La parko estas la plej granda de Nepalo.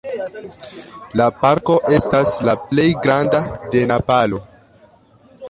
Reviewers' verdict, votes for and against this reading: rejected, 0, 2